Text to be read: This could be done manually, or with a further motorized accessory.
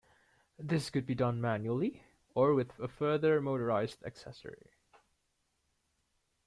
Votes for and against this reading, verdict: 2, 1, accepted